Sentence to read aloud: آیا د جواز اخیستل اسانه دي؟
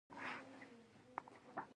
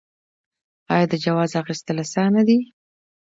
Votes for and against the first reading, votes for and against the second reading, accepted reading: 0, 2, 3, 0, second